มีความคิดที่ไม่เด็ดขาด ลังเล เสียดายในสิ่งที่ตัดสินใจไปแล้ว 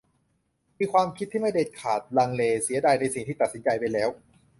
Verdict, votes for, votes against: accepted, 2, 0